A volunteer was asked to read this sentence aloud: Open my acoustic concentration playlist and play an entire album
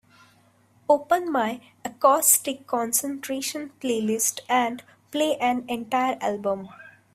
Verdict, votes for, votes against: rejected, 0, 2